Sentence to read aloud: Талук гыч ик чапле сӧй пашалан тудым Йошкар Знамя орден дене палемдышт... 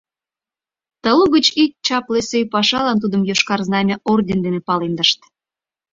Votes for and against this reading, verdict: 2, 0, accepted